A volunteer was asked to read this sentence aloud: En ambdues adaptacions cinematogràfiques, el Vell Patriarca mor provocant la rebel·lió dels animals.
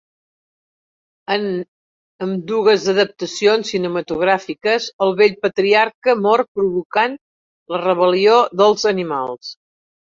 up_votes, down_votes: 1, 2